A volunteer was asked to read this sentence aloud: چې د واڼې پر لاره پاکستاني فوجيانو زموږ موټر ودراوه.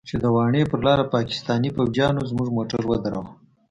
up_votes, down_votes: 2, 0